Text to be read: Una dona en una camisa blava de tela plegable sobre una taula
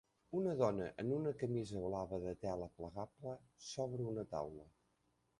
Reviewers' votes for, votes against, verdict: 1, 2, rejected